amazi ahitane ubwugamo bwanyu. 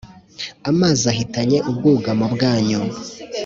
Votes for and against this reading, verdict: 1, 2, rejected